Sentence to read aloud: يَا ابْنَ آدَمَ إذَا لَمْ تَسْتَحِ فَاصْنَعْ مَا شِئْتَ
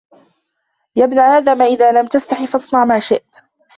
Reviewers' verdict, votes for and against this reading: rejected, 0, 2